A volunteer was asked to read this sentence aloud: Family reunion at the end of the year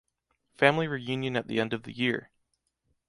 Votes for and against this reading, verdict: 2, 0, accepted